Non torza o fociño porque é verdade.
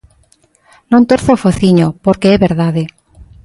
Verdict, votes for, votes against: accepted, 2, 0